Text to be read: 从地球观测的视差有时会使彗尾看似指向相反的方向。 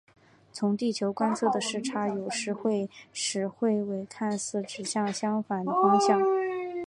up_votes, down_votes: 2, 0